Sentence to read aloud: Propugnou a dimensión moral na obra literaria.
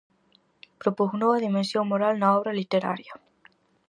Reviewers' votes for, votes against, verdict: 4, 0, accepted